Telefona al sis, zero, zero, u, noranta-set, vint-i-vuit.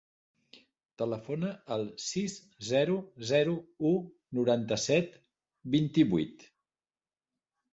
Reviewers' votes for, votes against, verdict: 3, 0, accepted